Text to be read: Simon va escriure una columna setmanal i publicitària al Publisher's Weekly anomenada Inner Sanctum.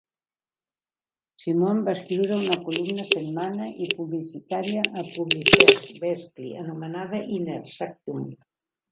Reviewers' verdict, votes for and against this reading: rejected, 0, 2